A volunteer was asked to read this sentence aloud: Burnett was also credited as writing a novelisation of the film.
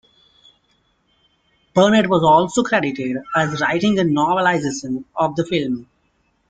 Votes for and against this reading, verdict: 0, 2, rejected